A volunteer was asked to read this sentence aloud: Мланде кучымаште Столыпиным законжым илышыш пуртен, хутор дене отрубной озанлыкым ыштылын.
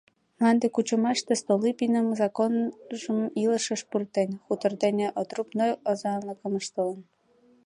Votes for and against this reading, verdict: 2, 0, accepted